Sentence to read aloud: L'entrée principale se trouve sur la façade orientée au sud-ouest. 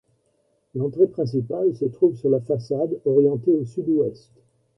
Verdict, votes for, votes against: accepted, 2, 1